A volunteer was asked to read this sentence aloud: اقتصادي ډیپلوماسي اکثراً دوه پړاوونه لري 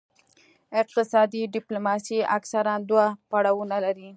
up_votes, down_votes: 2, 0